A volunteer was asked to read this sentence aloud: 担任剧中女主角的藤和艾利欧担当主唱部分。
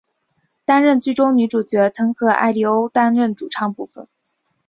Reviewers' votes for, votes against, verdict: 4, 0, accepted